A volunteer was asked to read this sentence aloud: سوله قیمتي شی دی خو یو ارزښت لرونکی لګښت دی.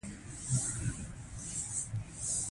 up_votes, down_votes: 1, 2